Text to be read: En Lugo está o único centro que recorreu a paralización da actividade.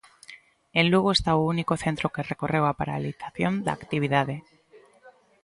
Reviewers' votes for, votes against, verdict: 2, 0, accepted